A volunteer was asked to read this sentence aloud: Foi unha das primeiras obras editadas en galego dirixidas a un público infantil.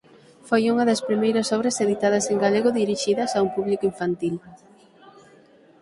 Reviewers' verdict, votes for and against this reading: accepted, 6, 0